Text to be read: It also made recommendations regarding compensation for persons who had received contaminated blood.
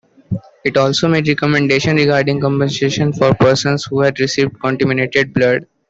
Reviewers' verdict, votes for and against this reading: rejected, 1, 2